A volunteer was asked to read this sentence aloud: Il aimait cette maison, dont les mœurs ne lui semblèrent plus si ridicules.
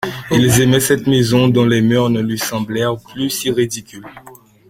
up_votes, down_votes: 0, 2